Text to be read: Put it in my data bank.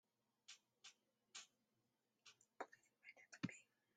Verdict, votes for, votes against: rejected, 0, 2